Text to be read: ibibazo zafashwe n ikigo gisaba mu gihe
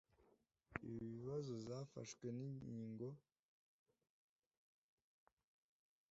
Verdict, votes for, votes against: rejected, 0, 2